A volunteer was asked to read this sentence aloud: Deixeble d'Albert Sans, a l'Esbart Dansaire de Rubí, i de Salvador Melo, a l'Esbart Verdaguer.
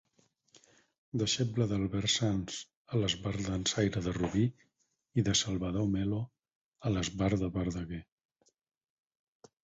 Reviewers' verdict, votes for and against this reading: rejected, 0, 4